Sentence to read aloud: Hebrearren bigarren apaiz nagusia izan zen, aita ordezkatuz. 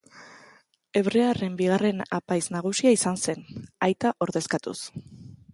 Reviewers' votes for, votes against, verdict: 2, 0, accepted